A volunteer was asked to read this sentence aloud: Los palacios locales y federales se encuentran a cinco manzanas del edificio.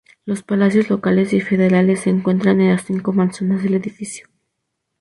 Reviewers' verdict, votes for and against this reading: rejected, 0, 2